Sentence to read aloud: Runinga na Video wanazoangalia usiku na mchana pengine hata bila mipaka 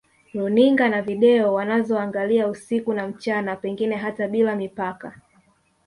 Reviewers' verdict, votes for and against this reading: accepted, 3, 1